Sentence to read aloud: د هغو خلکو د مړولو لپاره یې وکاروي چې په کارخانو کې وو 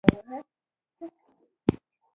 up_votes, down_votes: 0, 2